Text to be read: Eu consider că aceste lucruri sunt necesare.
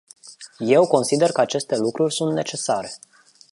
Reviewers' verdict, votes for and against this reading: rejected, 0, 2